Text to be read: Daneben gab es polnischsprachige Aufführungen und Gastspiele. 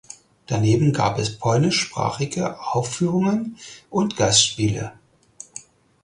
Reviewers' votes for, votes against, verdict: 4, 0, accepted